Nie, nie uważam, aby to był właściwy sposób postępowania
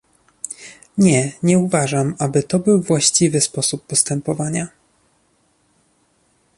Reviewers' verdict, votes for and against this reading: accepted, 2, 0